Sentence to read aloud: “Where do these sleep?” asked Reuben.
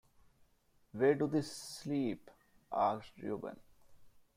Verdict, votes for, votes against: rejected, 1, 2